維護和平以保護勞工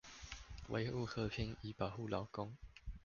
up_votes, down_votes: 2, 0